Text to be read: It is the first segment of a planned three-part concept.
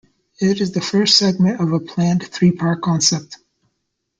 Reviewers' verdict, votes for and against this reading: accepted, 2, 0